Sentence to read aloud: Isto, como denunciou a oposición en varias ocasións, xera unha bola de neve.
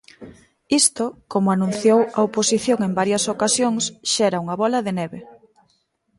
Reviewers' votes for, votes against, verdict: 0, 2, rejected